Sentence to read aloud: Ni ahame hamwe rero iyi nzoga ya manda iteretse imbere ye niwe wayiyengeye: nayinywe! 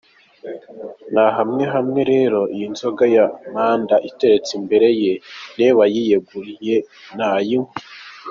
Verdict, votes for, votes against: rejected, 0, 2